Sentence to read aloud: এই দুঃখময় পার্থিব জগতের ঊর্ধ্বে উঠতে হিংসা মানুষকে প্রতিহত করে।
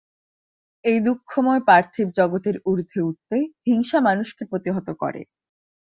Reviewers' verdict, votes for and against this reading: accepted, 2, 0